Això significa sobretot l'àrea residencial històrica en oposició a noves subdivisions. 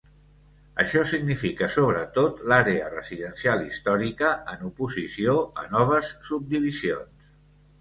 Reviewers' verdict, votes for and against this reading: accepted, 2, 0